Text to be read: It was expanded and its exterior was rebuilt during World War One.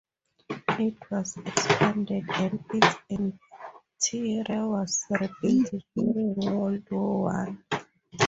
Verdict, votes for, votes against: rejected, 0, 4